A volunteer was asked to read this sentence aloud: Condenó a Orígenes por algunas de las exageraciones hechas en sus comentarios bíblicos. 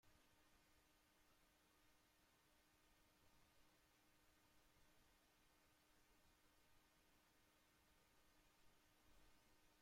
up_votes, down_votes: 0, 2